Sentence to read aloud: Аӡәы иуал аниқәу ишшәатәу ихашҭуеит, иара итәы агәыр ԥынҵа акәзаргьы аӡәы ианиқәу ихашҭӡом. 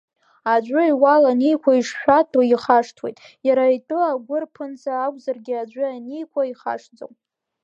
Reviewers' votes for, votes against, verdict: 2, 0, accepted